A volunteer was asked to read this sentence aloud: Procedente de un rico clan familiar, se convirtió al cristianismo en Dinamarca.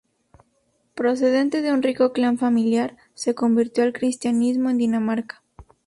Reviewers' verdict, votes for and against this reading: accepted, 2, 0